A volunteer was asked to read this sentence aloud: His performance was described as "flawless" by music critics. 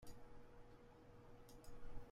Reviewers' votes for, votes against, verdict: 0, 2, rejected